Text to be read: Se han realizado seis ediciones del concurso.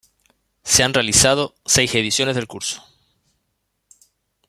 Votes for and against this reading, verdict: 0, 2, rejected